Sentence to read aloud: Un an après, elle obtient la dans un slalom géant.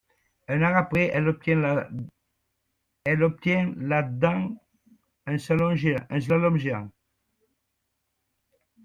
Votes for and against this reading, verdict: 0, 2, rejected